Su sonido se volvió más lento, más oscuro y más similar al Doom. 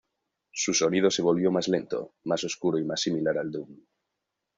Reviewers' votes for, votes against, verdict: 2, 0, accepted